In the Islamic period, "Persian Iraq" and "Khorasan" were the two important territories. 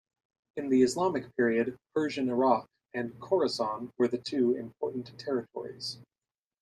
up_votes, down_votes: 2, 0